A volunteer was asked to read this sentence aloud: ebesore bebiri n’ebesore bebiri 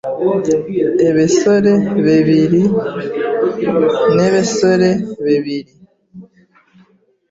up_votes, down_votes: 1, 2